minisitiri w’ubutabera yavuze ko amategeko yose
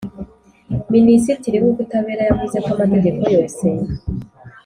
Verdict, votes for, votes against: accepted, 5, 0